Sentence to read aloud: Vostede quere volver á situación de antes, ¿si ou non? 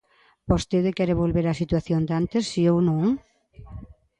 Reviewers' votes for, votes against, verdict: 2, 0, accepted